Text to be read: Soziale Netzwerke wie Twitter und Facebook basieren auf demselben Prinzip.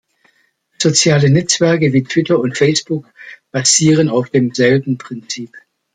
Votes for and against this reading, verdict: 2, 0, accepted